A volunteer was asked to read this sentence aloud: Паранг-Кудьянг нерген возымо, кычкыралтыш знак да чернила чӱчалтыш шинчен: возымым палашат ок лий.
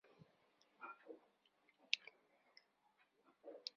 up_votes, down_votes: 0, 2